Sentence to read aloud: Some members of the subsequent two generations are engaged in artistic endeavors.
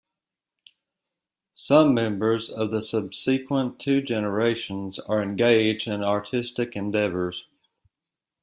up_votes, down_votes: 2, 3